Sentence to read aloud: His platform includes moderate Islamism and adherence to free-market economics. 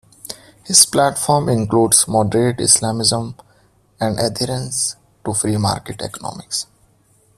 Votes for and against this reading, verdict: 2, 0, accepted